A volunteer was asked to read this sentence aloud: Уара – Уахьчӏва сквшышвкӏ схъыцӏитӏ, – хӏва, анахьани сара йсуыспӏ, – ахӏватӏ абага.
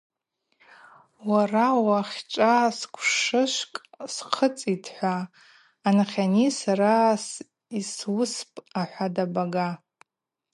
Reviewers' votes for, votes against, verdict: 4, 0, accepted